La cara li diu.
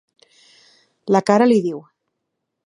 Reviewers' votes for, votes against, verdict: 2, 0, accepted